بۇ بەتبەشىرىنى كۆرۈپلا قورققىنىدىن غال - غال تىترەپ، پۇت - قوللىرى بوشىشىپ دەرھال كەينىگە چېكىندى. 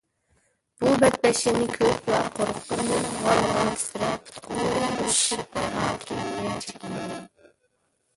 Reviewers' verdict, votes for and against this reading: rejected, 0, 2